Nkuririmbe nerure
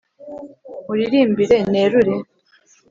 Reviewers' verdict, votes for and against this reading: rejected, 1, 2